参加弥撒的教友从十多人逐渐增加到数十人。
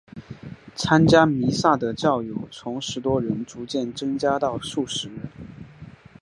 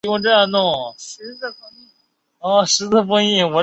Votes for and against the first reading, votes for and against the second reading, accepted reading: 2, 0, 0, 4, first